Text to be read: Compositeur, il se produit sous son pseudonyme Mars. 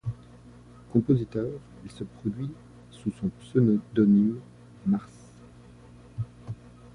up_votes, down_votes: 0, 2